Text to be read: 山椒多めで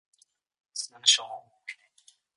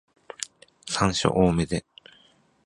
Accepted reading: second